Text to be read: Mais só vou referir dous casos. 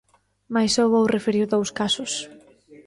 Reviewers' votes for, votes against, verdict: 2, 0, accepted